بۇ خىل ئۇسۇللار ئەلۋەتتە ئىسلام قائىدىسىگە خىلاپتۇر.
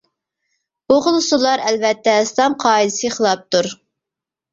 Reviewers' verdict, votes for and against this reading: rejected, 1, 2